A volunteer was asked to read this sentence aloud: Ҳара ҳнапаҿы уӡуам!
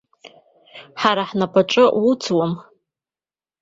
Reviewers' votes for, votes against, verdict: 2, 0, accepted